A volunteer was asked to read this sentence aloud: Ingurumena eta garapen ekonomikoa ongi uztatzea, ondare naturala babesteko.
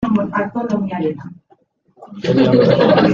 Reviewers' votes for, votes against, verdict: 0, 2, rejected